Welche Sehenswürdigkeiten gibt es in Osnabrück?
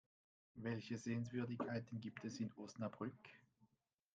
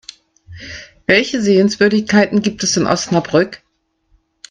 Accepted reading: second